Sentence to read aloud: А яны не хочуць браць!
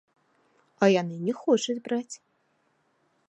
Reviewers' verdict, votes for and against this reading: rejected, 0, 2